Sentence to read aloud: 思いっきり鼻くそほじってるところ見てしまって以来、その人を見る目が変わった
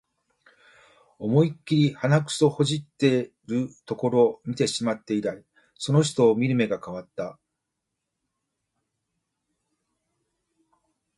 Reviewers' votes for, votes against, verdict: 2, 1, accepted